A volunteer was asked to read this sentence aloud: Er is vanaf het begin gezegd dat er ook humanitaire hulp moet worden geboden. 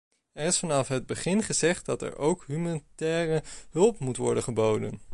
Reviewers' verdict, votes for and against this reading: rejected, 1, 2